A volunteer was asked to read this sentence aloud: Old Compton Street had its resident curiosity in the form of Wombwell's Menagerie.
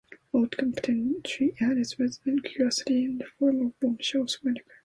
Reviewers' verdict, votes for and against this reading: rejected, 1, 2